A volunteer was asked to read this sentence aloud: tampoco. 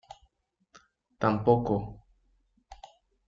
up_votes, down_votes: 1, 2